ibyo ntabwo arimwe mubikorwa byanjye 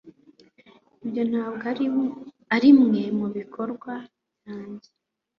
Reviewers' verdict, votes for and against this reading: accepted, 2, 0